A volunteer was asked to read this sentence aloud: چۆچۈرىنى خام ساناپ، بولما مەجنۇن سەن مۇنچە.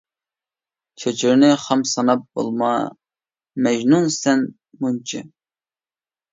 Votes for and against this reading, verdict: 2, 0, accepted